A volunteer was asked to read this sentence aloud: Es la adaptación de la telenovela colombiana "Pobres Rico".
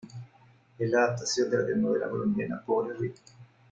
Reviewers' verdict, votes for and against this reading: rejected, 1, 2